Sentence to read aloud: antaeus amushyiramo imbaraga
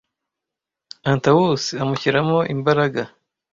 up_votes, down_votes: 1, 2